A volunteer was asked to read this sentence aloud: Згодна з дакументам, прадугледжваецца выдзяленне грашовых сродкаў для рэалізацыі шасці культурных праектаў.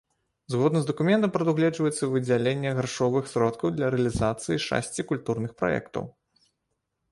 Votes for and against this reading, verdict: 0, 2, rejected